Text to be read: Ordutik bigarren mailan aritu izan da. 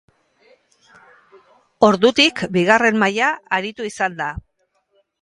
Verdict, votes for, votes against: rejected, 0, 2